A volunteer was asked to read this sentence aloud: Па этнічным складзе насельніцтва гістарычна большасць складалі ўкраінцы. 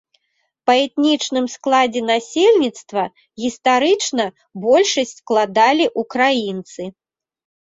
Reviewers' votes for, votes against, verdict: 2, 0, accepted